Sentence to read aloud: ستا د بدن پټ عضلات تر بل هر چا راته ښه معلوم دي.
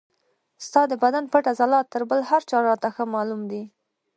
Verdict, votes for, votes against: rejected, 0, 2